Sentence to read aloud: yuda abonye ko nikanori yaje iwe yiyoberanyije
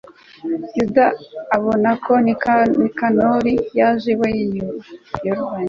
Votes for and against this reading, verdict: 0, 2, rejected